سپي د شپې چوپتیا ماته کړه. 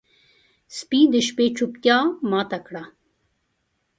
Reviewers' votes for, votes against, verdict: 2, 0, accepted